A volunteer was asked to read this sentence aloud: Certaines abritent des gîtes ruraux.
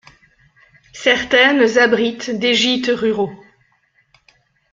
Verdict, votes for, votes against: rejected, 1, 2